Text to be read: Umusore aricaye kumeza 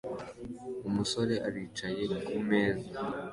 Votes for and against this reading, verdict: 2, 0, accepted